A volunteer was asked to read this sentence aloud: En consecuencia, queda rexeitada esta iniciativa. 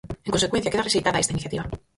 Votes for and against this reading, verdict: 0, 4, rejected